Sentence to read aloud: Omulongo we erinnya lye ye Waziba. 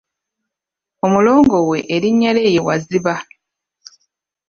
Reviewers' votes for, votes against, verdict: 1, 2, rejected